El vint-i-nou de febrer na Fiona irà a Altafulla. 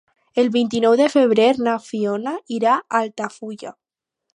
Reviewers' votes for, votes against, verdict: 4, 0, accepted